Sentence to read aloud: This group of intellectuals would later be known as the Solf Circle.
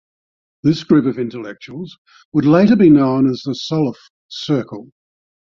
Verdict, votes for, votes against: accepted, 2, 0